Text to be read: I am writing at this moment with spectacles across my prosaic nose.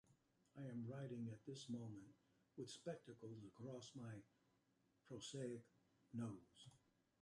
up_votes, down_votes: 0, 2